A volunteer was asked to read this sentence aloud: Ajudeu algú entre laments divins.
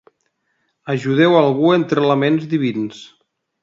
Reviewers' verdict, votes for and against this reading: accepted, 2, 0